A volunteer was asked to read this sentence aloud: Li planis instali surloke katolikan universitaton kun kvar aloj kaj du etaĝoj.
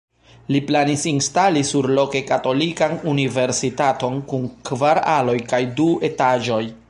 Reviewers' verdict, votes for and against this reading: rejected, 1, 2